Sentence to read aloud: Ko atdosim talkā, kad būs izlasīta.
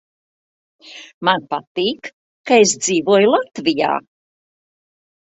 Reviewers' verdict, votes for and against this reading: rejected, 0, 2